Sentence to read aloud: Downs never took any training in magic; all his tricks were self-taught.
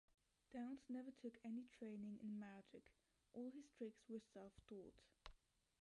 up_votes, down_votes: 1, 2